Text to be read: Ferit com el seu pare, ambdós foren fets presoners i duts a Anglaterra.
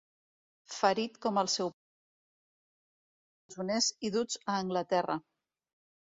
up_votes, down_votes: 2, 3